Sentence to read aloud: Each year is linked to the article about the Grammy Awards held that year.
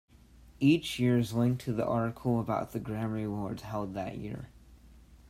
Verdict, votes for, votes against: accepted, 2, 0